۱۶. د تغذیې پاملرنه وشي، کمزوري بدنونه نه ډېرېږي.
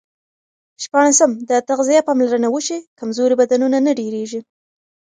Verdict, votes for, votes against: rejected, 0, 2